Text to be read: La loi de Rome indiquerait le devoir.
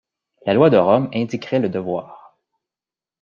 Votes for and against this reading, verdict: 2, 0, accepted